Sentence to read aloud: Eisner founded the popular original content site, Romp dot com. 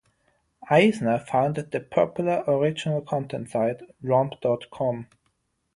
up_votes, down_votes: 6, 0